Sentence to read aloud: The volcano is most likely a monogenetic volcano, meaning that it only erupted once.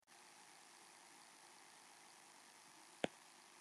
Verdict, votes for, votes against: rejected, 0, 2